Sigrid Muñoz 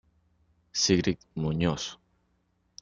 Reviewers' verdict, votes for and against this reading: accepted, 2, 0